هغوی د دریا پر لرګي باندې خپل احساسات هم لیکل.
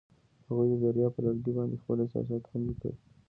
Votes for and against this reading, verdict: 2, 0, accepted